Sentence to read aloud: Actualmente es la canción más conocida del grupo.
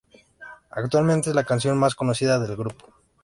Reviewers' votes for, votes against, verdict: 2, 0, accepted